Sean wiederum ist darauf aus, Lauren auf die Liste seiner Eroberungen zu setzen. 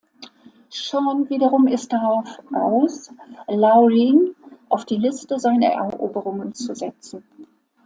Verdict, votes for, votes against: accepted, 2, 0